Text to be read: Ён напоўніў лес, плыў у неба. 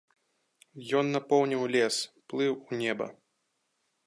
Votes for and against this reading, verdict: 2, 0, accepted